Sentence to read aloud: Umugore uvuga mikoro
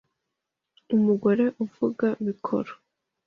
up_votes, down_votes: 2, 0